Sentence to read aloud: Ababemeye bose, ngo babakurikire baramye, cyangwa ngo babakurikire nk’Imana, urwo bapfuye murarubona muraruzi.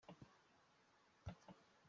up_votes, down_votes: 0, 2